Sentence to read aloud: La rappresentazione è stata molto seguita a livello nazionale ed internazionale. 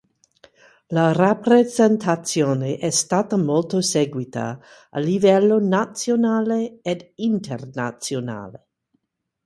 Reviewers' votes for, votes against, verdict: 4, 0, accepted